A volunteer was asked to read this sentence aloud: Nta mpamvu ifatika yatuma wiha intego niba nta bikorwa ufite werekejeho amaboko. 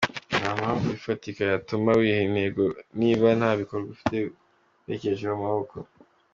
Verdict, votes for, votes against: accepted, 2, 0